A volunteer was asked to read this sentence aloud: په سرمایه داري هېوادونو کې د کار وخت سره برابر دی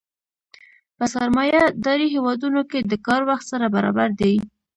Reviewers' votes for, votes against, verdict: 2, 0, accepted